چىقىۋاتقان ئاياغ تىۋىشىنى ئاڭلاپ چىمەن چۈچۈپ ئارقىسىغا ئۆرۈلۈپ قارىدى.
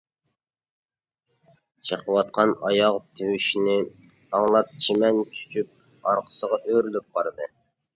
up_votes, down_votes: 0, 2